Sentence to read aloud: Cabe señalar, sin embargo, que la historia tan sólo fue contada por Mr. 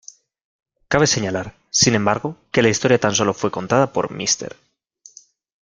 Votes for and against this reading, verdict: 0, 2, rejected